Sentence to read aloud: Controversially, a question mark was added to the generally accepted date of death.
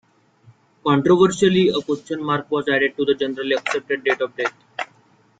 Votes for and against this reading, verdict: 2, 1, accepted